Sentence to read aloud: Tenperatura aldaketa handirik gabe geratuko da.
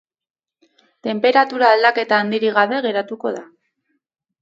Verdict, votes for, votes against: rejected, 2, 2